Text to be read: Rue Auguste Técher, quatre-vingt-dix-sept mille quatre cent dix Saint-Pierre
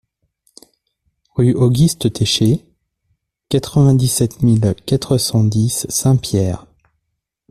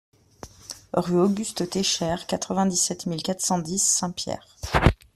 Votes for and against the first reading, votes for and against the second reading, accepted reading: 1, 2, 2, 0, second